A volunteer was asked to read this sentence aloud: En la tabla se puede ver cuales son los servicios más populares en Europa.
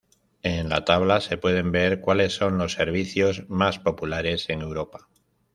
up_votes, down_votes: 1, 2